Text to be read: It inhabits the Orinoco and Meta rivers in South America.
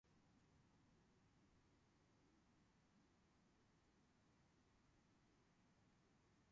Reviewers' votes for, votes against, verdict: 0, 2, rejected